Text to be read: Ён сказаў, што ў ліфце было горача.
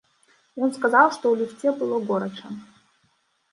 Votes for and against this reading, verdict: 1, 2, rejected